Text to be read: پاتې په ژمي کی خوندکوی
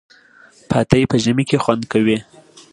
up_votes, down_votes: 2, 0